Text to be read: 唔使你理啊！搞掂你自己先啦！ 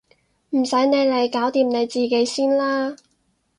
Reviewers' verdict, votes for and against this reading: rejected, 0, 2